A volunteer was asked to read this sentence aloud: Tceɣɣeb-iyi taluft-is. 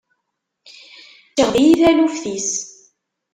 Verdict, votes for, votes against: rejected, 0, 2